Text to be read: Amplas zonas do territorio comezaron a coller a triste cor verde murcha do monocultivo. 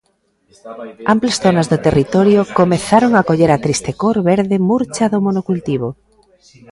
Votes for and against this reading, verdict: 1, 2, rejected